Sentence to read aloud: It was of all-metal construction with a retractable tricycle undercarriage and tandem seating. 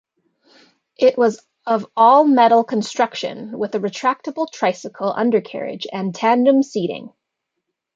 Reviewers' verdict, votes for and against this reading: accepted, 2, 0